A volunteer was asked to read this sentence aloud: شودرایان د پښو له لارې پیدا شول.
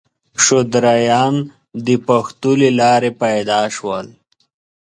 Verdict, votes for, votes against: rejected, 1, 2